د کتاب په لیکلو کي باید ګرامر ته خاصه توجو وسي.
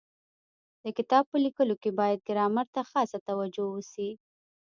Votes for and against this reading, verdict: 1, 2, rejected